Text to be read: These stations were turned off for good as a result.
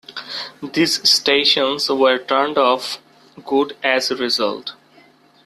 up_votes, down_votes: 0, 2